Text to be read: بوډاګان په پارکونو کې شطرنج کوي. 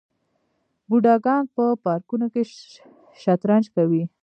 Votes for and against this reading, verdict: 0, 2, rejected